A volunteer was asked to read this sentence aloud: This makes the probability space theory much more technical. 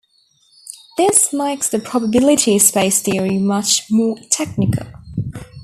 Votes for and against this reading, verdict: 0, 2, rejected